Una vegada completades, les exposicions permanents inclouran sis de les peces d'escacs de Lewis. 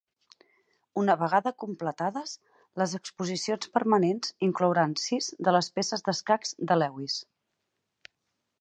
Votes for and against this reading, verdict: 6, 0, accepted